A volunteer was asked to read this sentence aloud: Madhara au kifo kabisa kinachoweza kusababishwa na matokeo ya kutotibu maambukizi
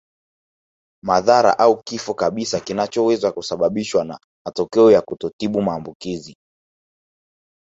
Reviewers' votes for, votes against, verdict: 0, 2, rejected